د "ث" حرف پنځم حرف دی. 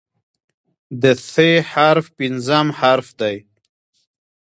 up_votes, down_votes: 1, 2